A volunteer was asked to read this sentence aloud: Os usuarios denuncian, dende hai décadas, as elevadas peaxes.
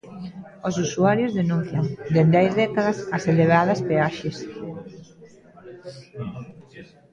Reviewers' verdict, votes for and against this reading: rejected, 0, 2